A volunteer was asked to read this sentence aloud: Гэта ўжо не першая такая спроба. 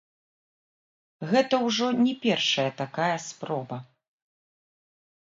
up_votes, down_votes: 0, 2